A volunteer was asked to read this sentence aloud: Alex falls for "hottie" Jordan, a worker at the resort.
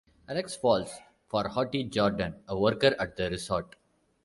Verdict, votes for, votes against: accepted, 2, 1